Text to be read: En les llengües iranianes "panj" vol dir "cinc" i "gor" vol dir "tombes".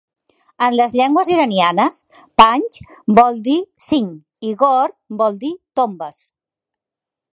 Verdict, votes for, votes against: accepted, 2, 0